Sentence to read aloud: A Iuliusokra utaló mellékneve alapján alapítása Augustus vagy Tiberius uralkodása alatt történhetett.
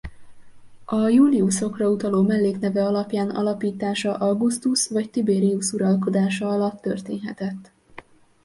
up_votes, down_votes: 2, 0